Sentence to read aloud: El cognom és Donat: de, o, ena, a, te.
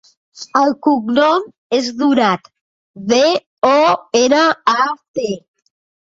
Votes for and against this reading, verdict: 2, 0, accepted